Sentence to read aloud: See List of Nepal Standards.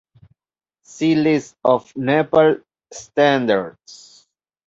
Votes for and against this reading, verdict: 2, 1, accepted